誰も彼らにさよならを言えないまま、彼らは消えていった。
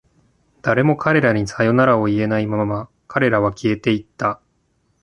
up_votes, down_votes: 2, 1